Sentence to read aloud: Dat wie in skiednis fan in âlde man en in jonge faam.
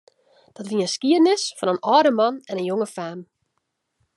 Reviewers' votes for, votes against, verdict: 2, 0, accepted